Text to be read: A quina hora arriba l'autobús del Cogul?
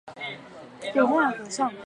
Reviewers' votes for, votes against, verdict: 0, 4, rejected